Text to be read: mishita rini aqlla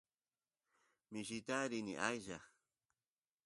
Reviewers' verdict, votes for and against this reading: rejected, 1, 2